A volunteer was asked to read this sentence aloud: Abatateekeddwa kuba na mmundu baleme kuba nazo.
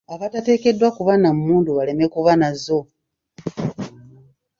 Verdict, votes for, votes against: rejected, 1, 2